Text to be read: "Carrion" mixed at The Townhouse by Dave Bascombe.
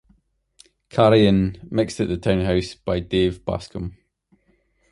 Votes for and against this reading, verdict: 1, 2, rejected